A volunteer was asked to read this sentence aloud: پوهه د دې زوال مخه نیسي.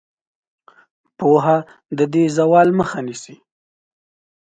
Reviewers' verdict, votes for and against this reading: accepted, 2, 0